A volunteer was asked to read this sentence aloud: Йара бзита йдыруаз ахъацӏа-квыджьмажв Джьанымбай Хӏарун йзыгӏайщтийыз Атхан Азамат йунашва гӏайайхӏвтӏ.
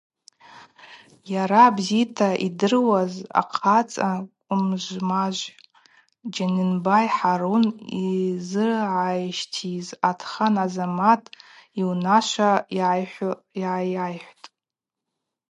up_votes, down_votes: 0, 4